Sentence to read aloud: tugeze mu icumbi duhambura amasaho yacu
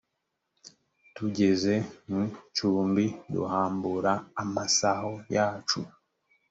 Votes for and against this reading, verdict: 4, 0, accepted